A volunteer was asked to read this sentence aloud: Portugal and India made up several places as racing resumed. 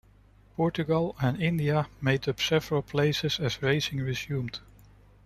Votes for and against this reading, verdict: 2, 0, accepted